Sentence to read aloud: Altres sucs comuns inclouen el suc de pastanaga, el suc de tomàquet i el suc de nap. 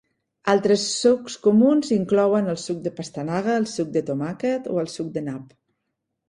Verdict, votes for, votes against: accepted, 2, 0